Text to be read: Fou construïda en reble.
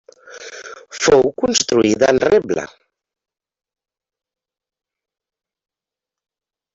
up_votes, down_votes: 1, 2